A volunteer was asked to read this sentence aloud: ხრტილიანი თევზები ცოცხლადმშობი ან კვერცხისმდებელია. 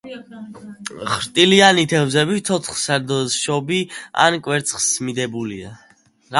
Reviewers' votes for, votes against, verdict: 1, 2, rejected